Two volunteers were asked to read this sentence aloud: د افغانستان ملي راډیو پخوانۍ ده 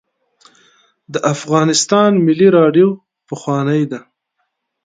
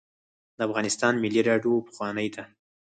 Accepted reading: first